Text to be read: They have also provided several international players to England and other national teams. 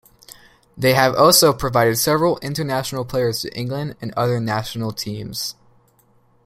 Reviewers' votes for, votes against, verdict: 2, 0, accepted